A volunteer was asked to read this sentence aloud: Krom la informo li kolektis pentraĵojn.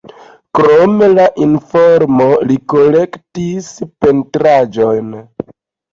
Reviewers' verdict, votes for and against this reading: accepted, 2, 0